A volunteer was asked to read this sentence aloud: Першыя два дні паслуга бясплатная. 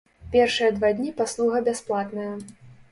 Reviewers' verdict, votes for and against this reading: accepted, 2, 0